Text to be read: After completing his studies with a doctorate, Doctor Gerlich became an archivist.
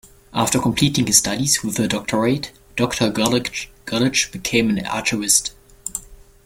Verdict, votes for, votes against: rejected, 0, 2